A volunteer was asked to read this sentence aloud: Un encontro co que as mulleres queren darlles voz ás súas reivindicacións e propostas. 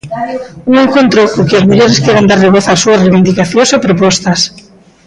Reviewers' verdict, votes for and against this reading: rejected, 1, 2